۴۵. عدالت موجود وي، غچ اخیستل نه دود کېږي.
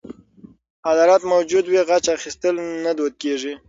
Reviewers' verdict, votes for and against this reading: rejected, 0, 2